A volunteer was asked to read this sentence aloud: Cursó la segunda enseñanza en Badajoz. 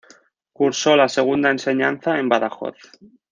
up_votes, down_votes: 2, 0